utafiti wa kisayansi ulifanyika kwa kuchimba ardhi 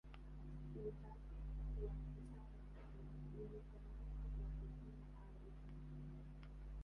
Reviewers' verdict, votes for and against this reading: rejected, 1, 2